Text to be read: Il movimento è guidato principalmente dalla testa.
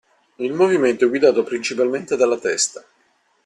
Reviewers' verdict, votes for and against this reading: accepted, 2, 0